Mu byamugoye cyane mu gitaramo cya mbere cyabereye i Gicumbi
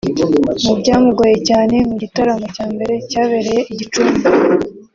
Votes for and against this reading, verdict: 3, 2, accepted